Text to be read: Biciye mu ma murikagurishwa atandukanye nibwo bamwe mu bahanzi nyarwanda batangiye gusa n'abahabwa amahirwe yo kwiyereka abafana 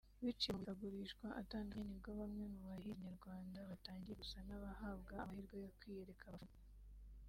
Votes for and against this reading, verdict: 1, 2, rejected